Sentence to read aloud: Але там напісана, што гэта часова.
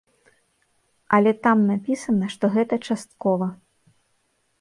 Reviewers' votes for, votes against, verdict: 1, 2, rejected